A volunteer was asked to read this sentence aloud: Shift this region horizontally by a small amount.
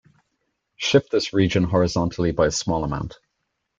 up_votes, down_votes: 2, 0